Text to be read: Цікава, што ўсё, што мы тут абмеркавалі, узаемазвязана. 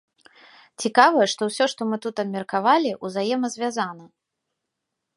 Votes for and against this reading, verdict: 1, 2, rejected